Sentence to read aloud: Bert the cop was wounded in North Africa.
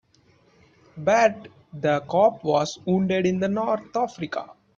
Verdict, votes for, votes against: rejected, 1, 2